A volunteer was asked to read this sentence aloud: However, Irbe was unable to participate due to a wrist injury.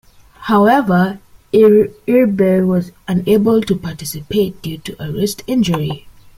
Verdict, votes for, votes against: rejected, 1, 2